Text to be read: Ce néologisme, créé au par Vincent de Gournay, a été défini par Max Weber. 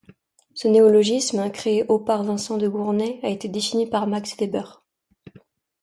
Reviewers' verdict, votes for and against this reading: accepted, 2, 0